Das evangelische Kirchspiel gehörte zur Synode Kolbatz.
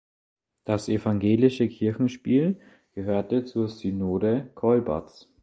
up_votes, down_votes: 0, 2